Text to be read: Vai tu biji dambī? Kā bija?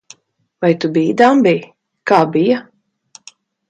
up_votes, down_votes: 2, 0